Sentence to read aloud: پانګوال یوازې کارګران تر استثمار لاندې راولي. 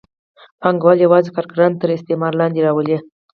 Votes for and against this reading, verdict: 4, 0, accepted